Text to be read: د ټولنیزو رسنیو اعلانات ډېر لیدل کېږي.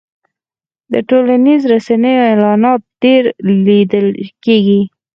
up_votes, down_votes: 4, 2